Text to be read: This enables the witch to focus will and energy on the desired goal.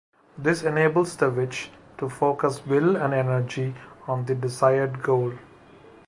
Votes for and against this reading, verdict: 3, 0, accepted